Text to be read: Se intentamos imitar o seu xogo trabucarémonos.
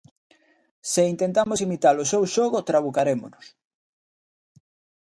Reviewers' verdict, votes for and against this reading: accepted, 2, 0